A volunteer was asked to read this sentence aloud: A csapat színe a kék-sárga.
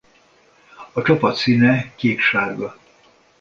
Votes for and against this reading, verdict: 0, 2, rejected